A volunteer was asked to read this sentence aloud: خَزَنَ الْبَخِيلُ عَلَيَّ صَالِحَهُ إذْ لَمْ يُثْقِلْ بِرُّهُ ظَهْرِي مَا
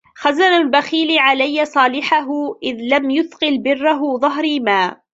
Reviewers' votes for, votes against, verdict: 0, 2, rejected